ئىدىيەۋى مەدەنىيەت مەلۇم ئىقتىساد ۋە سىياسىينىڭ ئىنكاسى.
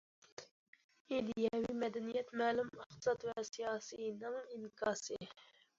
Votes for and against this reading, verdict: 2, 0, accepted